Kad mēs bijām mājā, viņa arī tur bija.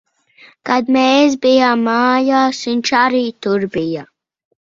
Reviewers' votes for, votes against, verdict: 0, 2, rejected